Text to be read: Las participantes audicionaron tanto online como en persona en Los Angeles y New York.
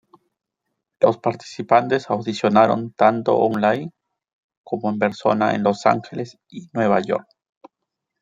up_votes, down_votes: 1, 2